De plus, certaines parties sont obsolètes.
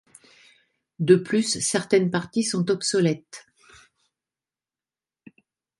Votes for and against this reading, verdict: 2, 0, accepted